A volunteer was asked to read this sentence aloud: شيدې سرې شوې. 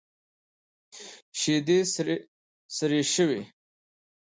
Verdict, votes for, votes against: accepted, 2, 0